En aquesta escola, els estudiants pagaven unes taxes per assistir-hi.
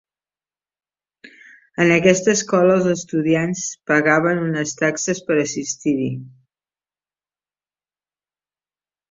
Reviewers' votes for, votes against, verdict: 4, 0, accepted